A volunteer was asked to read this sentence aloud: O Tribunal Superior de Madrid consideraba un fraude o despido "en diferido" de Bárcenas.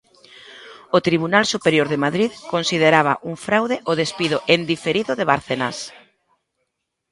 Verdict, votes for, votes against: accepted, 3, 0